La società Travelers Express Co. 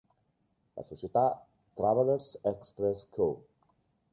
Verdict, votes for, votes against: accepted, 2, 0